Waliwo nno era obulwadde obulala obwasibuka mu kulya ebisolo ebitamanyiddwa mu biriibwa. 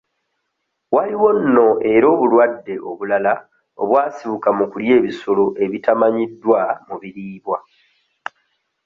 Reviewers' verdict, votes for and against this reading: rejected, 1, 2